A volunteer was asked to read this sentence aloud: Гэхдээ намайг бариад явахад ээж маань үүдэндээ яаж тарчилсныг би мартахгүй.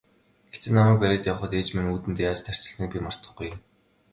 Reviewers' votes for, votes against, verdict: 1, 2, rejected